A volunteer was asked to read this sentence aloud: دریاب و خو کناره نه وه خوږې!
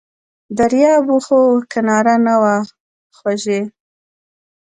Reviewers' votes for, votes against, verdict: 0, 2, rejected